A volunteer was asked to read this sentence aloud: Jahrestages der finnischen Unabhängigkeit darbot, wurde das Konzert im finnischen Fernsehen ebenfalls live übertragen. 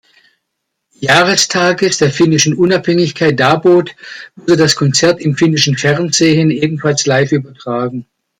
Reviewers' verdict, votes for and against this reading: accepted, 2, 0